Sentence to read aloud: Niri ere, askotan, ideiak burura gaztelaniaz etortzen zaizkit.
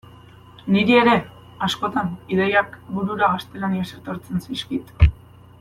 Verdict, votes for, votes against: accepted, 2, 0